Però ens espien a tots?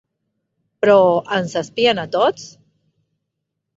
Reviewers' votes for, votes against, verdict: 4, 0, accepted